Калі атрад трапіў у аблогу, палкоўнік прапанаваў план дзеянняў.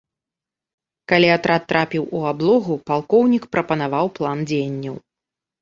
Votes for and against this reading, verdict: 2, 0, accepted